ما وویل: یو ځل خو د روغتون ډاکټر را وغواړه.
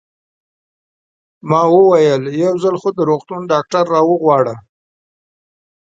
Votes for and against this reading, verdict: 2, 0, accepted